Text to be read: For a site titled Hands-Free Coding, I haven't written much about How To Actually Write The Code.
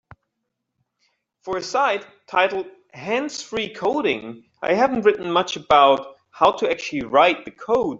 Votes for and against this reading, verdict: 2, 0, accepted